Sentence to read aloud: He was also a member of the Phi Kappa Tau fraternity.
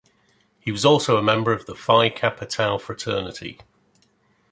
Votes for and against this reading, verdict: 2, 0, accepted